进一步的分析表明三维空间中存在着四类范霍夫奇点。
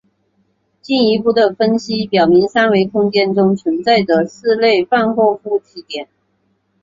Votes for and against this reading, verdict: 2, 1, accepted